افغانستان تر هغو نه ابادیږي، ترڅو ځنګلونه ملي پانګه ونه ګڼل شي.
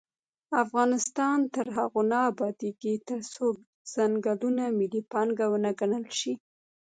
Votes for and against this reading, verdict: 0, 2, rejected